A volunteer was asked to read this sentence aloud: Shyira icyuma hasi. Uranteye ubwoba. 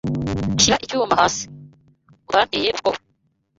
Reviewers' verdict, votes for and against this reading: rejected, 1, 2